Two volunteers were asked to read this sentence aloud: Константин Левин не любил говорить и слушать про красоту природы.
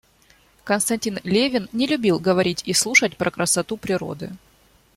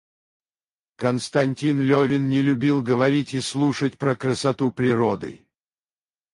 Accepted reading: first